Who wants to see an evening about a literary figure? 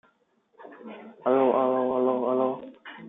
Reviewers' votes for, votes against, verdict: 0, 2, rejected